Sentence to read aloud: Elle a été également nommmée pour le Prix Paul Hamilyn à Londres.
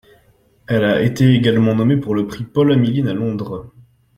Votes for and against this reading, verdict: 2, 0, accepted